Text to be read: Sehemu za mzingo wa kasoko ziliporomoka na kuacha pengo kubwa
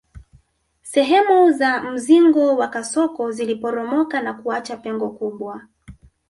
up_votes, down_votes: 1, 2